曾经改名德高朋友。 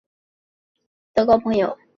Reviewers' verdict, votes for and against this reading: rejected, 1, 2